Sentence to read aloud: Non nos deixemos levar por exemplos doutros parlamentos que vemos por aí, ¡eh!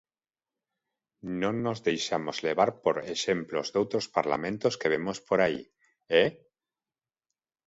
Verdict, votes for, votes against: rejected, 0, 2